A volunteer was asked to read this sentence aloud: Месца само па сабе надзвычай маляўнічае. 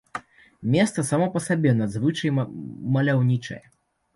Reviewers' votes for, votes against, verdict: 1, 2, rejected